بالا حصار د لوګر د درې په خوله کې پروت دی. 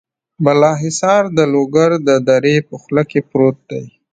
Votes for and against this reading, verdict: 2, 0, accepted